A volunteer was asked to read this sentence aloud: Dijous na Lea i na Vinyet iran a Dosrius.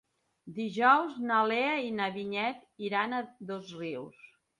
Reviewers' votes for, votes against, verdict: 2, 0, accepted